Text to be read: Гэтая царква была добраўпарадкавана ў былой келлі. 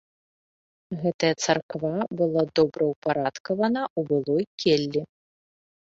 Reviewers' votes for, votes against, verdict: 2, 1, accepted